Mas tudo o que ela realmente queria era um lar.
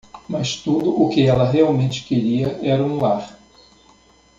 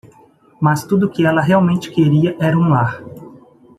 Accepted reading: second